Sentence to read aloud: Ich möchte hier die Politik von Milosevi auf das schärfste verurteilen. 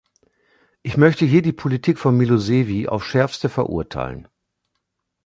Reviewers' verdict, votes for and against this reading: rejected, 0, 2